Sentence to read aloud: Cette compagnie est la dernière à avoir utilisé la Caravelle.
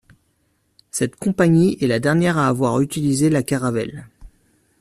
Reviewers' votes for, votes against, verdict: 2, 0, accepted